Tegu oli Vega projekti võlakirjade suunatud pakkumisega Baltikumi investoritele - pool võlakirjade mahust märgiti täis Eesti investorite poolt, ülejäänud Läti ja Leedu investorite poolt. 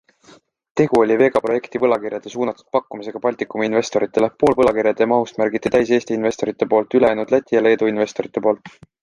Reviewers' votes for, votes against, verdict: 2, 0, accepted